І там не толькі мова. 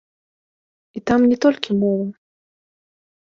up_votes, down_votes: 0, 2